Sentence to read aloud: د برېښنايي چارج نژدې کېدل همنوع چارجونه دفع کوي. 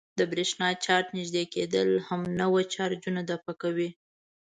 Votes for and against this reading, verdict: 1, 2, rejected